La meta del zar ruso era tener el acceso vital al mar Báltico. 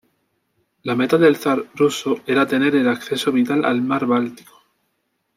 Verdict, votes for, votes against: accepted, 2, 0